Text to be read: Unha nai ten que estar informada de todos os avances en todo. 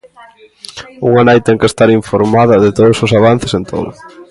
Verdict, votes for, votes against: accepted, 2, 0